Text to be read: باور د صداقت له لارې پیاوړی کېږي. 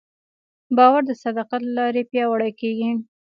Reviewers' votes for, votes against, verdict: 2, 1, accepted